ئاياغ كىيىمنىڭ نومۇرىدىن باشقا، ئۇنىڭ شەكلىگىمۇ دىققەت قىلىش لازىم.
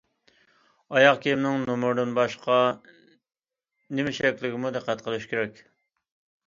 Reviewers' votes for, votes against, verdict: 0, 2, rejected